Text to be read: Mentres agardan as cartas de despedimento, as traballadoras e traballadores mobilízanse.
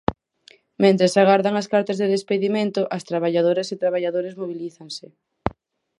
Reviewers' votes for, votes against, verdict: 4, 0, accepted